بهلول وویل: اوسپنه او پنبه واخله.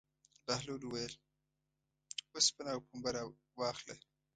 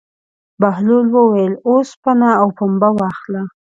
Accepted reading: second